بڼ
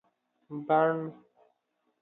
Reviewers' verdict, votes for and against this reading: accepted, 2, 0